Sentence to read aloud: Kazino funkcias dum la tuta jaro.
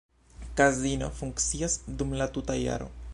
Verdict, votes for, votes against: accepted, 2, 0